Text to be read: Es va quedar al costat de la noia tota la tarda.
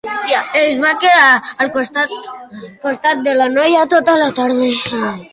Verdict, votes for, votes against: rejected, 0, 2